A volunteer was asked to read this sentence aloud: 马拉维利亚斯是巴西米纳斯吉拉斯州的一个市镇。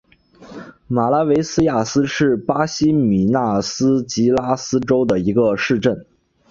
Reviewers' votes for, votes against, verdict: 2, 0, accepted